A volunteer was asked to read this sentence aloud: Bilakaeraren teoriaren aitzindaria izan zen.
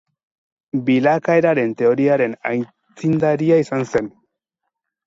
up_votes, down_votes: 0, 4